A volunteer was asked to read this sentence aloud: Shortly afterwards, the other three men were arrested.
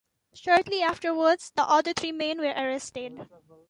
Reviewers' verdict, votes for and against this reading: rejected, 0, 2